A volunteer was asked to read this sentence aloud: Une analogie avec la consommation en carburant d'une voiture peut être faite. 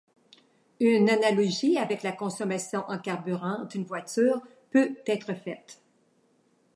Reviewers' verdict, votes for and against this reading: accepted, 2, 1